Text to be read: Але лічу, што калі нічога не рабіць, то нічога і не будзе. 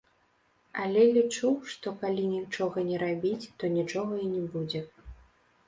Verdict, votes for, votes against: rejected, 0, 2